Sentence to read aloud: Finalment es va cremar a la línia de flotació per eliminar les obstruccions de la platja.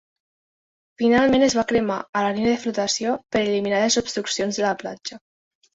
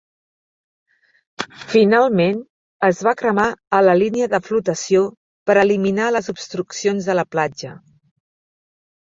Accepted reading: second